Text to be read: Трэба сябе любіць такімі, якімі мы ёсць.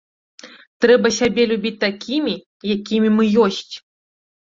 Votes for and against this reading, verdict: 2, 0, accepted